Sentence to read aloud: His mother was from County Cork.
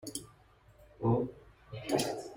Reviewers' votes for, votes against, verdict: 0, 2, rejected